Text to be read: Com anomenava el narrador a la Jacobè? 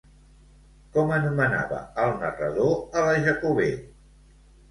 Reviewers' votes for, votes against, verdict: 2, 1, accepted